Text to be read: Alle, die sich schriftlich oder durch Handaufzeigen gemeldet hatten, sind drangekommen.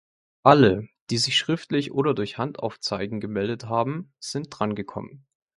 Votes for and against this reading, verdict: 0, 2, rejected